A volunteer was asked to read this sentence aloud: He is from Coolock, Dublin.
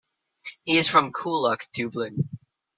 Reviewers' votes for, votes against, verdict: 2, 1, accepted